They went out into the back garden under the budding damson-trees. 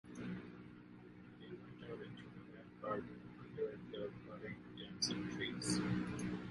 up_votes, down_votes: 0, 2